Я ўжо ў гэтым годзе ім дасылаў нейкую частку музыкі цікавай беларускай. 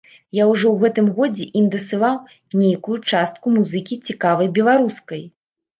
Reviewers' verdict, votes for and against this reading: rejected, 1, 2